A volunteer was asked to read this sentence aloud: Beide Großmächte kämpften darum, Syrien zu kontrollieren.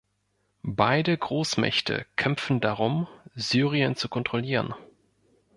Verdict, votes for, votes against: rejected, 1, 2